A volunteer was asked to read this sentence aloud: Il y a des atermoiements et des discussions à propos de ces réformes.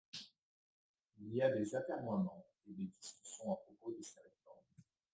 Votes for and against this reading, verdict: 2, 0, accepted